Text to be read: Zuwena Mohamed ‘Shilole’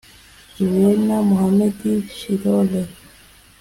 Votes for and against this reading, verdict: 0, 2, rejected